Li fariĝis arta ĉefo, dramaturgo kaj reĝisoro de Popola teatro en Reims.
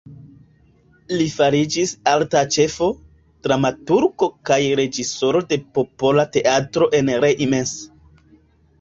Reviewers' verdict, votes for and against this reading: accepted, 2, 0